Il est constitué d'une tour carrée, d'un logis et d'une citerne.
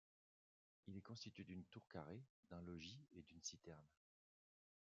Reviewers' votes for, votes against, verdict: 0, 2, rejected